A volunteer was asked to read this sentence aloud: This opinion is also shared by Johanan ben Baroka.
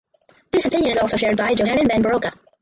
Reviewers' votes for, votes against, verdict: 0, 4, rejected